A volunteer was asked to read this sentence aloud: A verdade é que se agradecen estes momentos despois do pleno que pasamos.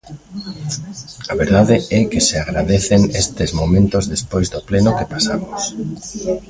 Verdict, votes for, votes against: accepted, 2, 0